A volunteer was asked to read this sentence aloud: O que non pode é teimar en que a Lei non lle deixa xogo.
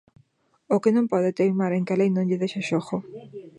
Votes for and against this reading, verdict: 2, 1, accepted